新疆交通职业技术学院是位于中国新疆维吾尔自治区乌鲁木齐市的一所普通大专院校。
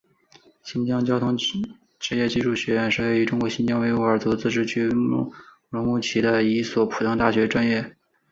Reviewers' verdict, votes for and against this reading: accepted, 2, 0